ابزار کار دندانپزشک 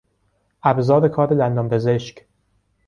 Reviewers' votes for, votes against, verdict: 2, 0, accepted